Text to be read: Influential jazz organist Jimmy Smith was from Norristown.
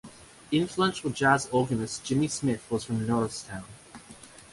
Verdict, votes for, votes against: accepted, 2, 0